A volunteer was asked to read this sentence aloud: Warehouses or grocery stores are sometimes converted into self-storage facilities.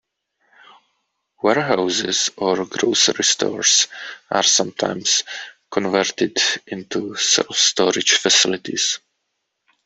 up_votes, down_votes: 2, 0